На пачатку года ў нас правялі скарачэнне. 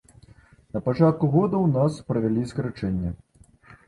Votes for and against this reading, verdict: 2, 0, accepted